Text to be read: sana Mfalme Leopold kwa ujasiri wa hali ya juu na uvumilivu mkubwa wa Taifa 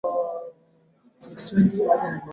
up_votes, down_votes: 0, 2